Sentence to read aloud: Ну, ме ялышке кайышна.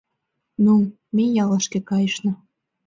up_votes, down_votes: 3, 0